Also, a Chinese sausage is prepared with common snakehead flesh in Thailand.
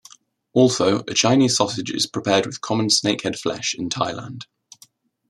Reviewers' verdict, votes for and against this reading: accepted, 2, 0